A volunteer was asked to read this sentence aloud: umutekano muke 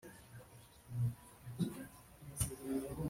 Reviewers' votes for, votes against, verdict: 1, 2, rejected